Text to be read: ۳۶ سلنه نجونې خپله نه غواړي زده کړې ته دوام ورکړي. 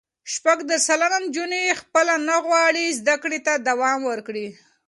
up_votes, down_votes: 0, 2